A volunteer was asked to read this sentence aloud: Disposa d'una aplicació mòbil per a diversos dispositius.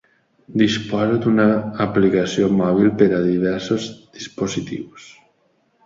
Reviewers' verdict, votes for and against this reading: accepted, 2, 1